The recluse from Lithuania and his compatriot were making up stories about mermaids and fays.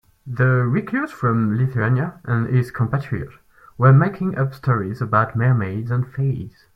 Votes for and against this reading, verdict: 4, 0, accepted